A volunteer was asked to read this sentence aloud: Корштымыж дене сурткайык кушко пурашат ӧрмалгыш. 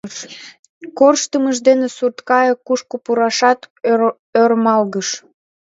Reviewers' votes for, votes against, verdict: 0, 3, rejected